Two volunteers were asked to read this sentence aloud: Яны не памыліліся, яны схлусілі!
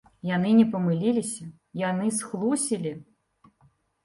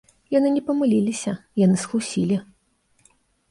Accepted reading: first